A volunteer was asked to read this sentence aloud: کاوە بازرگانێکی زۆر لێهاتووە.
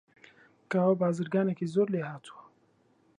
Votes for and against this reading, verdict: 2, 0, accepted